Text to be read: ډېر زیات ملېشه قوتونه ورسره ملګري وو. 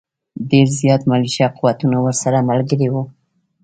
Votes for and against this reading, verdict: 1, 2, rejected